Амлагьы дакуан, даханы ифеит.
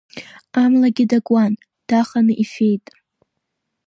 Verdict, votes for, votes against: rejected, 0, 2